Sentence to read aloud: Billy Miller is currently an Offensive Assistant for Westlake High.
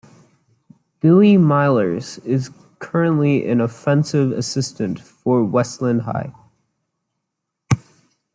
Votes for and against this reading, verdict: 1, 2, rejected